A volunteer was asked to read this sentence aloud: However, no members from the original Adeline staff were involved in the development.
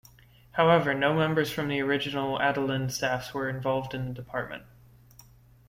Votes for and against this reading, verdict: 1, 2, rejected